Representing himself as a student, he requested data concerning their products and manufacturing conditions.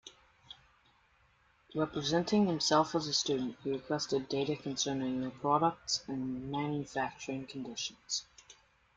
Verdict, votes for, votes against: accepted, 2, 0